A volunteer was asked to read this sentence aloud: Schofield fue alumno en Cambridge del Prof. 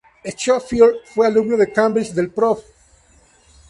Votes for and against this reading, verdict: 0, 4, rejected